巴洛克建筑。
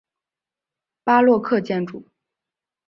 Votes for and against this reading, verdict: 3, 0, accepted